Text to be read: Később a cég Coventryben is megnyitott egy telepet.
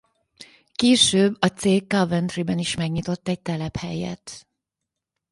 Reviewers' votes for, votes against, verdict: 0, 4, rejected